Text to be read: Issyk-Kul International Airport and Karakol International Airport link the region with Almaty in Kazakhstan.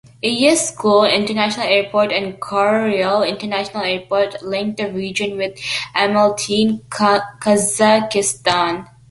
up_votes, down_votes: 2, 1